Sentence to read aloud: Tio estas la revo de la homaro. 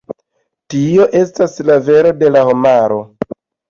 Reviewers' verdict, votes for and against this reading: accepted, 2, 1